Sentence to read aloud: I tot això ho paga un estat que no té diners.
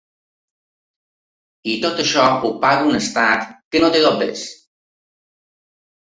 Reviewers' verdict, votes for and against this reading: rejected, 0, 2